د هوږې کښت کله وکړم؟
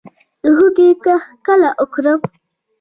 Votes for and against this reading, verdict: 2, 0, accepted